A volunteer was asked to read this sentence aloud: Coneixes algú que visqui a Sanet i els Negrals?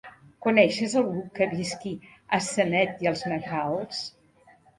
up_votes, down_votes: 0, 2